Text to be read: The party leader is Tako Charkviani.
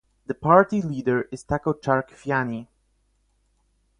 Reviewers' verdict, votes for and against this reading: rejected, 4, 4